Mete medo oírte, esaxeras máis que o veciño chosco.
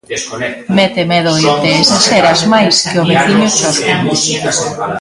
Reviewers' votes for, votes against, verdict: 0, 2, rejected